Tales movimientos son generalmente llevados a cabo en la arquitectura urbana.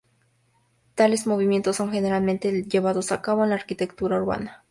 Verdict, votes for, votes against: accepted, 2, 0